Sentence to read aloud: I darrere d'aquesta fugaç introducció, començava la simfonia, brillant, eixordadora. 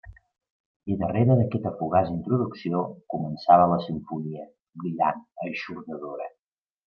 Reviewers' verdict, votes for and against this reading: accepted, 2, 1